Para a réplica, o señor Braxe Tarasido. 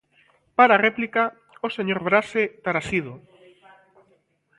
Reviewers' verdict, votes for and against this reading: accepted, 2, 0